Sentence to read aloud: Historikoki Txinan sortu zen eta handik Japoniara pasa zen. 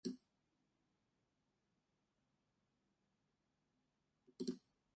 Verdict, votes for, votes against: rejected, 0, 4